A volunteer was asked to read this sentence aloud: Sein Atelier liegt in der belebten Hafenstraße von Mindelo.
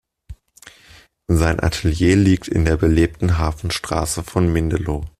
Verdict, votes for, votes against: accepted, 2, 0